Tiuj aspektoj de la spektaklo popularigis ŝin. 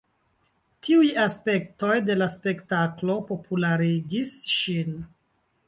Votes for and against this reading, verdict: 2, 1, accepted